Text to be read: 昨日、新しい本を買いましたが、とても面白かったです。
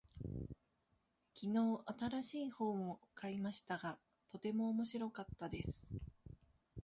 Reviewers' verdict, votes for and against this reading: rejected, 1, 2